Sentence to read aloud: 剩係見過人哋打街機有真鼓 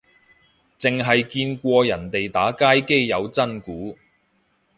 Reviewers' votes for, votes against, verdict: 2, 0, accepted